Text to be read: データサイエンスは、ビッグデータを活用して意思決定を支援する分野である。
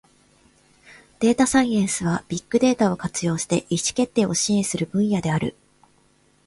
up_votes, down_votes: 2, 0